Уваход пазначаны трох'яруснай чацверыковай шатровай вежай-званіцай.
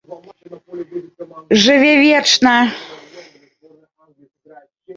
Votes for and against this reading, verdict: 0, 2, rejected